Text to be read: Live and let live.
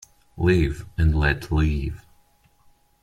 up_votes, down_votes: 2, 0